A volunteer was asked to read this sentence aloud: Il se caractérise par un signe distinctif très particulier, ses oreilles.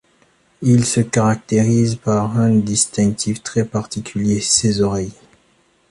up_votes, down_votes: 1, 2